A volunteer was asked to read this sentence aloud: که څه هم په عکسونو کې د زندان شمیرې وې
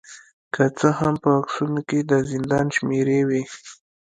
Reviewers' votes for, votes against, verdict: 2, 0, accepted